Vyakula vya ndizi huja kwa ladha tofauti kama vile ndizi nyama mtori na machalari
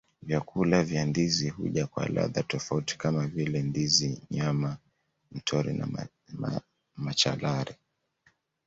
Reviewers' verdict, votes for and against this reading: accepted, 2, 0